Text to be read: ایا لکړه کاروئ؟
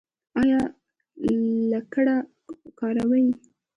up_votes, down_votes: 0, 2